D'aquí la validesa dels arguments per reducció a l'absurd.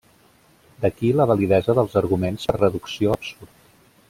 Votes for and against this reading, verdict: 0, 2, rejected